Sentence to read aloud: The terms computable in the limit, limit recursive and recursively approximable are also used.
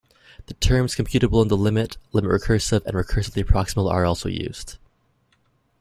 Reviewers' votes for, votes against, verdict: 1, 2, rejected